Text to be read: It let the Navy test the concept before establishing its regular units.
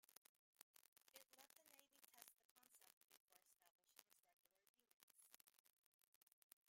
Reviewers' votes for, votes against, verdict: 0, 2, rejected